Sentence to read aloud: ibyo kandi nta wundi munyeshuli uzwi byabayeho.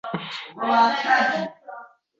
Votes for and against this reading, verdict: 0, 2, rejected